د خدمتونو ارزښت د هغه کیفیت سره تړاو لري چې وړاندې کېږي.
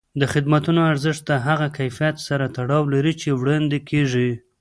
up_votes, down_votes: 0, 2